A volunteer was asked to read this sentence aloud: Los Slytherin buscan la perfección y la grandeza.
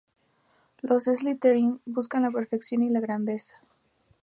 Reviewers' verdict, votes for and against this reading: accepted, 2, 0